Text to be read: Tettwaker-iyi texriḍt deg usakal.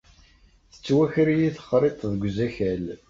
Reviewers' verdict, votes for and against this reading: rejected, 0, 2